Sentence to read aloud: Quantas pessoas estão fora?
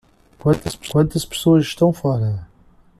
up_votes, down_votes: 0, 2